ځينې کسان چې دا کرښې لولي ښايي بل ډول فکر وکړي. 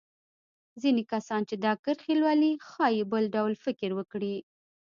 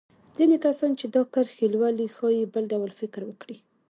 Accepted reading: second